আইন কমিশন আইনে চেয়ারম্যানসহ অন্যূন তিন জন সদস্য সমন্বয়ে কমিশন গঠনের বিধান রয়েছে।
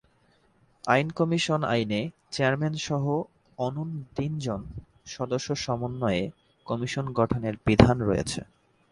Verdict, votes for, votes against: accepted, 3, 0